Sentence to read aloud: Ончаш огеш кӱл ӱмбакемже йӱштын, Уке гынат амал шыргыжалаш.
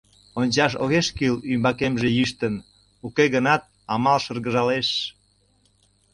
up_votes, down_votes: 1, 2